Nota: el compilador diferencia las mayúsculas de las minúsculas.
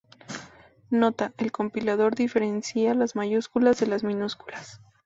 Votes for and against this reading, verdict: 2, 0, accepted